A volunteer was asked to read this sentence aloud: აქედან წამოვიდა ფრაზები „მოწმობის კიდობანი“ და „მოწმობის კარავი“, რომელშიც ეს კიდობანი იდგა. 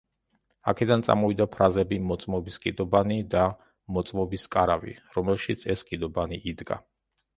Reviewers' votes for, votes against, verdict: 2, 0, accepted